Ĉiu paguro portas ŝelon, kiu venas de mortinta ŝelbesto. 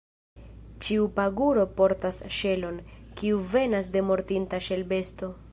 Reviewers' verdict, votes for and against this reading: rejected, 0, 2